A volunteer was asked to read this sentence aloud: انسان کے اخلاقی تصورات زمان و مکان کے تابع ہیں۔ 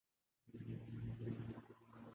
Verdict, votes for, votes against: rejected, 0, 2